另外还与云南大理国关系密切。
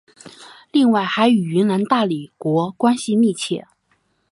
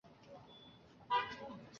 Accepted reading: first